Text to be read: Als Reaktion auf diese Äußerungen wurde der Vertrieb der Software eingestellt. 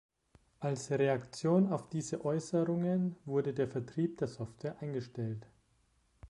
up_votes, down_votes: 1, 2